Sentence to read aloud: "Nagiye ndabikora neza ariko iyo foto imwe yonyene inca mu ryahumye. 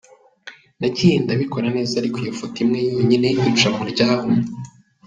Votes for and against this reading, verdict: 1, 2, rejected